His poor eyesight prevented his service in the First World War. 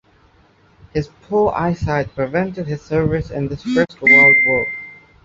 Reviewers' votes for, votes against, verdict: 1, 2, rejected